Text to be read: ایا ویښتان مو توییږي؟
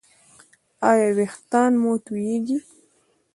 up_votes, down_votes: 0, 2